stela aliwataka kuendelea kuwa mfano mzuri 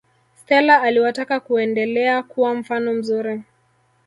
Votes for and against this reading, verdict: 1, 2, rejected